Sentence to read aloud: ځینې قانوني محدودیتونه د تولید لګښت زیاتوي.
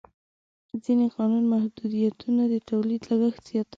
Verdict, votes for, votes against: accepted, 4, 3